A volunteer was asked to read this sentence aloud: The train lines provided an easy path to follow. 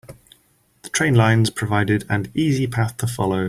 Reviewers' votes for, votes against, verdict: 4, 0, accepted